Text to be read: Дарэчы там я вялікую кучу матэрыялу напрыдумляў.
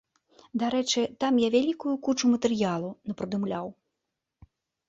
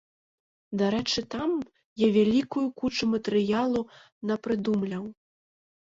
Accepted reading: first